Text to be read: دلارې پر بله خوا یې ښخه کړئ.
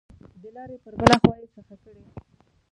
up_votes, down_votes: 0, 2